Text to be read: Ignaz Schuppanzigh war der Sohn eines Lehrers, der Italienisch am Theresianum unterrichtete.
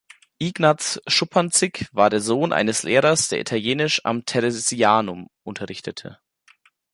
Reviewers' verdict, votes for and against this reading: rejected, 1, 2